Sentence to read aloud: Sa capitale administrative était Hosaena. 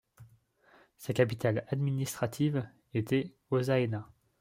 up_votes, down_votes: 2, 0